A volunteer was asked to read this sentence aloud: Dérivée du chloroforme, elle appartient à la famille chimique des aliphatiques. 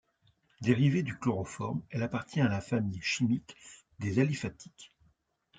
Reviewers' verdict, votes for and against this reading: accepted, 2, 0